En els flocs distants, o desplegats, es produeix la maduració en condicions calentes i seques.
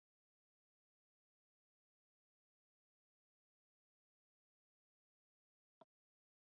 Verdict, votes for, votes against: rejected, 0, 2